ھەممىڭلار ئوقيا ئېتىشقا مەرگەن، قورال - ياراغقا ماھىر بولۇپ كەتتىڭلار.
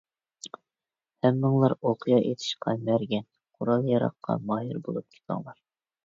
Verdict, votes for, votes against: rejected, 0, 2